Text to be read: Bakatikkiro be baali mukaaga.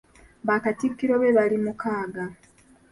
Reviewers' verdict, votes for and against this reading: accepted, 2, 0